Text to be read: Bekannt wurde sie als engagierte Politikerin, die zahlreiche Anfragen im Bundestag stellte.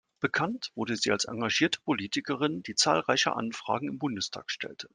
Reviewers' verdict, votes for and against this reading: accepted, 2, 0